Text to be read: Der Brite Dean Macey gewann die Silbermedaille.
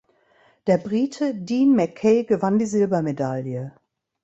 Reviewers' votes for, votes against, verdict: 1, 2, rejected